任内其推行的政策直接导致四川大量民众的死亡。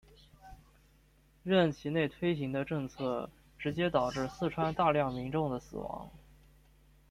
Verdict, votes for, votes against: accepted, 2, 1